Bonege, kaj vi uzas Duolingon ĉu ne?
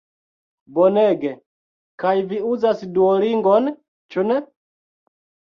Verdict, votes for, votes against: accepted, 2, 1